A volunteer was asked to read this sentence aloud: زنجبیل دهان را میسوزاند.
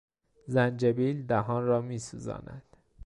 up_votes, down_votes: 2, 0